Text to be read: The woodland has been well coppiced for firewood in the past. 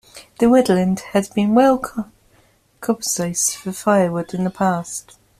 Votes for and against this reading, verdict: 0, 2, rejected